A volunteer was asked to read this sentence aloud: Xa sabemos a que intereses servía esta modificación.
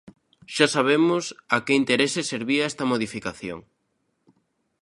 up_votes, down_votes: 2, 0